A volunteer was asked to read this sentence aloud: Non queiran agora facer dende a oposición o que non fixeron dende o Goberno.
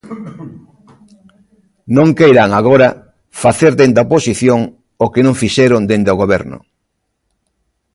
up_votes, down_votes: 1, 2